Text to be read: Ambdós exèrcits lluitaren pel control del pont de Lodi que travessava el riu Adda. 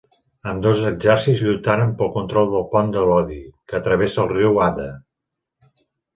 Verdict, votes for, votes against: rejected, 1, 2